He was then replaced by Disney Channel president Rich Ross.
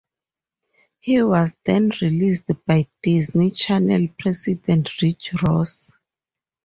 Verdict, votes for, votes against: accepted, 2, 0